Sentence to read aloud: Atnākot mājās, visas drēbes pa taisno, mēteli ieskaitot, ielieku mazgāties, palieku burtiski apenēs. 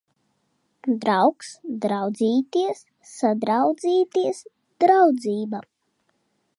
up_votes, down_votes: 0, 2